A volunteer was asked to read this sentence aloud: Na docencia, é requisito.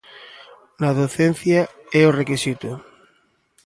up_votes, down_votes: 0, 2